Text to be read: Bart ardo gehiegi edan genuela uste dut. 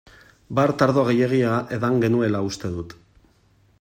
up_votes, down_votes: 1, 3